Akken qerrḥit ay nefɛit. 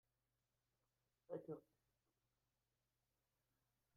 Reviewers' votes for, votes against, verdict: 1, 2, rejected